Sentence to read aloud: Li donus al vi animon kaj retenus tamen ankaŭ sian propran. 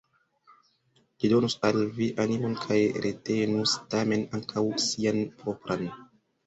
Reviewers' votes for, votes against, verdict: 2, 0, accepted